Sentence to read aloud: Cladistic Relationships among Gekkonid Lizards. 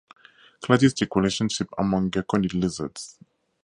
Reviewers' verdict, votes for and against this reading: rejected, 2, 2